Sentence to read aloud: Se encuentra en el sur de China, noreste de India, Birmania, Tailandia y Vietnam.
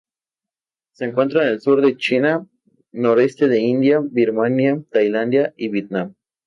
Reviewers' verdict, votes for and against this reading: accepted, 2, 0